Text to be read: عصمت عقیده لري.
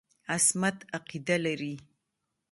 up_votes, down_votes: 0, 2